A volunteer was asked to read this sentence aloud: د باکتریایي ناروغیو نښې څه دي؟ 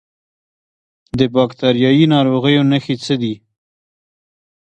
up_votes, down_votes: 1, 3